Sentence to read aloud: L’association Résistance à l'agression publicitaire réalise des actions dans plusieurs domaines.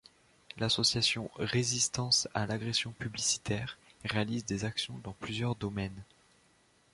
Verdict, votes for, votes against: accepted, 2, 0